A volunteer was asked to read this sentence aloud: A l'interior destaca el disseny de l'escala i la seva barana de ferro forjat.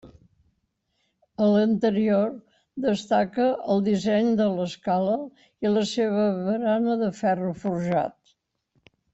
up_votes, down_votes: 2, 0